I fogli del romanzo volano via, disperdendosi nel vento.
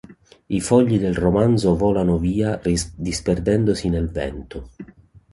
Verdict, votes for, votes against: rejected, 0, 2